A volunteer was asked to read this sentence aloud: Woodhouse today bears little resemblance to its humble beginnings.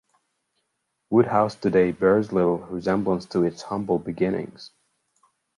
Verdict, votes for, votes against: accepted, 2, 1